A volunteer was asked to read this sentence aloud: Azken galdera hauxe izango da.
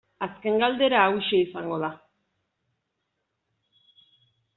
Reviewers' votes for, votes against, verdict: 2, 0, accepted